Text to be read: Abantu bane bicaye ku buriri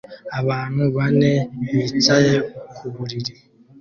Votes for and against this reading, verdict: 2, 0, accepted